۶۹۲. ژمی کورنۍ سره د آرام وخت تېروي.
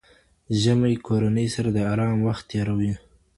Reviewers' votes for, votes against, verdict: 0, 2, rejected